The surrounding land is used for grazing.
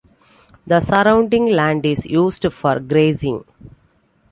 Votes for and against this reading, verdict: 2, 0, accepted